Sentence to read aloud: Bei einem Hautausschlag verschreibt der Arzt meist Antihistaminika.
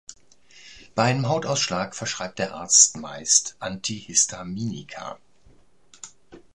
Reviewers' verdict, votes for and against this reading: accepted, 2, 0